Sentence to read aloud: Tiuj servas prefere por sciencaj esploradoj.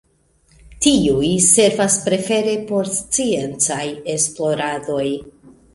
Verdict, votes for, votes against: accepted, 2, 0